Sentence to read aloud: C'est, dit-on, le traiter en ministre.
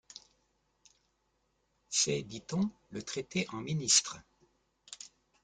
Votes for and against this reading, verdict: 2, 0, accepted